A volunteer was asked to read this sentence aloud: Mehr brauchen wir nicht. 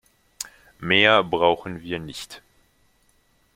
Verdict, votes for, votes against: accepted, 2, 1